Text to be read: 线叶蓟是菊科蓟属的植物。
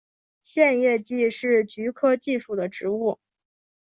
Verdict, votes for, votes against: accepted, 3, 0